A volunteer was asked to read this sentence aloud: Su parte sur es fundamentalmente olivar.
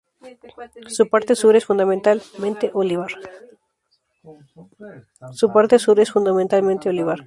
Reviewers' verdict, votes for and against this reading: rejected, 0, 2